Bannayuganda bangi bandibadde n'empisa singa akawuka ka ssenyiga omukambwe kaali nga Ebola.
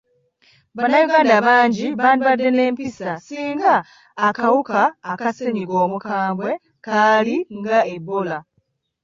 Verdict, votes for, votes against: accepted, 2, 0